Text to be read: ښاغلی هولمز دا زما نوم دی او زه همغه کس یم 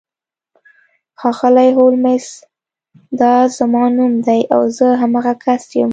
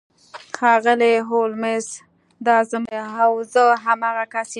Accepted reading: first